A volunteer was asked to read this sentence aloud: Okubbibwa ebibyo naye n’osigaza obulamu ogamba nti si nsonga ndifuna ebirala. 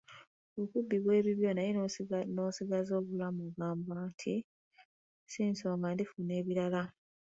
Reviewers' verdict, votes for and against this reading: accepted, 2, 1